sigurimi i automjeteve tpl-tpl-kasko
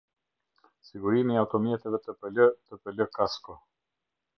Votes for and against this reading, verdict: 0, 2, rejected